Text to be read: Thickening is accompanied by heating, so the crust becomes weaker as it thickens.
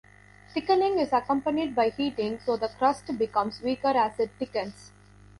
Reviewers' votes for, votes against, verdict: 3, 0, accepted